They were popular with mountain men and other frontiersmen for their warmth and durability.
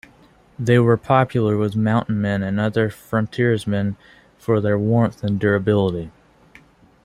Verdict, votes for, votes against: accepted, 2, 1